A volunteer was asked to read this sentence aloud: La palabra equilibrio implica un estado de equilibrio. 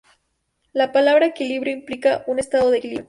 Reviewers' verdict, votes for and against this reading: accepted, 2, 0